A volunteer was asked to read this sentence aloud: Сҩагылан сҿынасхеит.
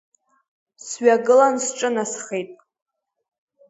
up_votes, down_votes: 2, 0